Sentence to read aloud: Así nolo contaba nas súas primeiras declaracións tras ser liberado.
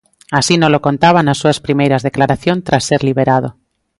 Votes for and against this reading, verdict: 0, 2, rejected